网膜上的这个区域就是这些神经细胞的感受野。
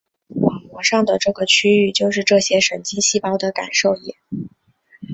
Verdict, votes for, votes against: accepted, 7, 0